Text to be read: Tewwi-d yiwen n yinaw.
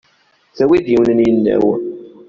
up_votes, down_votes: 0, 2